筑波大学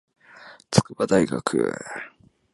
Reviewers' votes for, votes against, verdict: 0, 2, rejected